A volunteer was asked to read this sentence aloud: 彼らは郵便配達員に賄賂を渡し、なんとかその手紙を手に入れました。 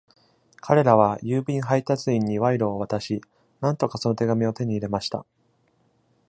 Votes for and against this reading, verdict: 2, 0, accepted